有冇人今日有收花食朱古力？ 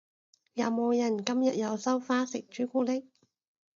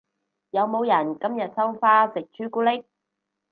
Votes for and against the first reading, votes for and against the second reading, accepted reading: 2, 0, 0, 4, first